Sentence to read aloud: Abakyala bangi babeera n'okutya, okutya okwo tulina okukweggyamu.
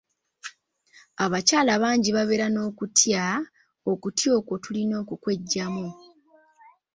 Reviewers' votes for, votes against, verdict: 2, 0, accepted